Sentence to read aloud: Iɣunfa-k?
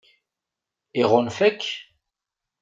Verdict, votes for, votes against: accepted, 2, 0